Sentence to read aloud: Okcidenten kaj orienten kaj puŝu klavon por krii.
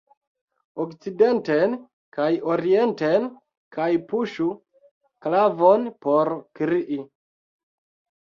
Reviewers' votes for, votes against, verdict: 2, 0, accepted